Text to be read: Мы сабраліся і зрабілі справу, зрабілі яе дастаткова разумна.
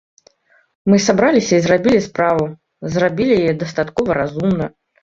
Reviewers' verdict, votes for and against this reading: accepted, 2, 0